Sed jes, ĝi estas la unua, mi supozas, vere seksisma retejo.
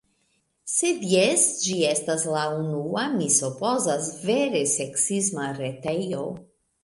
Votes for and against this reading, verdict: 2, 0, accepted